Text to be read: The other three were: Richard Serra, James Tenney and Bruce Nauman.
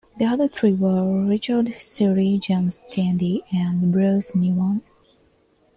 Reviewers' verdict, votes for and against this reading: accepted, 2, 0